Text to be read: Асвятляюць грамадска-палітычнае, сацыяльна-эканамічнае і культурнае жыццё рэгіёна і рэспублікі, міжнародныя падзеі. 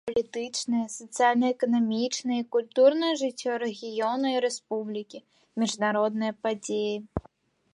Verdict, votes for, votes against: rejected, 0, 2